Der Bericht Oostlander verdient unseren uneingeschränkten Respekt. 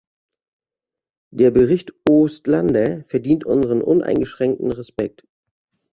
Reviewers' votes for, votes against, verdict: 2, 0, accepted